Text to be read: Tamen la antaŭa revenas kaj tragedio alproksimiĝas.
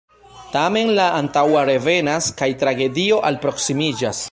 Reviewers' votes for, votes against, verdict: 2, 0, accepted